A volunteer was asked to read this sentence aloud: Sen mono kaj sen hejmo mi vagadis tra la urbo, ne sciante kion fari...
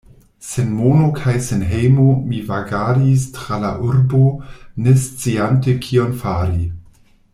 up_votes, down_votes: 2, 0